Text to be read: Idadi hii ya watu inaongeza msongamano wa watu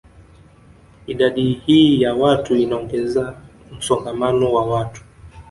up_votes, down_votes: 1, 2